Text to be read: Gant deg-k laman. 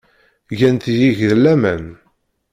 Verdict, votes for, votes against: rejected, 0, 2